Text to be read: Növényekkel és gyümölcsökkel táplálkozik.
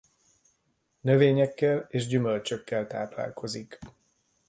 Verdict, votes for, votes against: accepted, 2, 0